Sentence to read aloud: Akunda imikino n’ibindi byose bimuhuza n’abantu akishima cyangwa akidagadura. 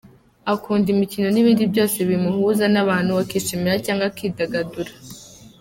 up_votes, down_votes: 2, 0